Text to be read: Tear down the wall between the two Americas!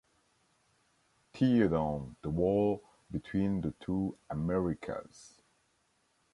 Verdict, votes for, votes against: accepted, 2, 1